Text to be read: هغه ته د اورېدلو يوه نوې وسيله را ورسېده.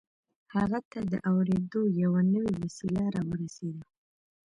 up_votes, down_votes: 2, 0